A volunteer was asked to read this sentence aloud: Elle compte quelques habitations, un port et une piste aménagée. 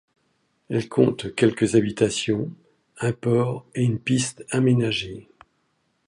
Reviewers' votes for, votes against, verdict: 2, 0, accepted